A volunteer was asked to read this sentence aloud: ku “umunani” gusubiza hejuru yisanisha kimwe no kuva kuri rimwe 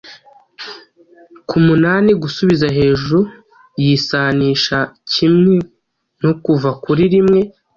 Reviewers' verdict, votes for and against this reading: accepted, 2, 0